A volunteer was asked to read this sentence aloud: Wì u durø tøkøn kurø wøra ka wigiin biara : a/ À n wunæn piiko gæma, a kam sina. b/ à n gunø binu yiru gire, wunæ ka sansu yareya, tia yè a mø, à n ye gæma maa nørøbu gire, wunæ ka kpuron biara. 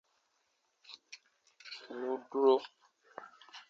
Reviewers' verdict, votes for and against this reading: rejected, 0, 2